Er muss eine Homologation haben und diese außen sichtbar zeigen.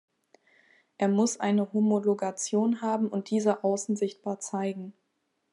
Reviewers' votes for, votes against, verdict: 3, 0, accepted